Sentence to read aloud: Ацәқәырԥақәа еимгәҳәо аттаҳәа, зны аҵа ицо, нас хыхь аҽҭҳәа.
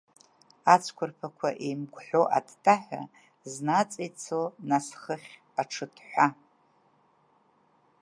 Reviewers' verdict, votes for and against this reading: rejected, 1, 2